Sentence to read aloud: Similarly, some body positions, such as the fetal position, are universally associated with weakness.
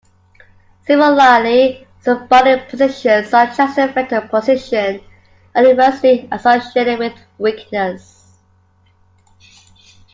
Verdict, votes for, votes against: accepted, 2, 0